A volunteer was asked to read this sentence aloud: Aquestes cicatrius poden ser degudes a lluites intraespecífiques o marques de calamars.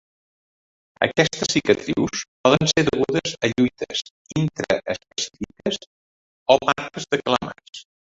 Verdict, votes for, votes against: rejected, 0, 2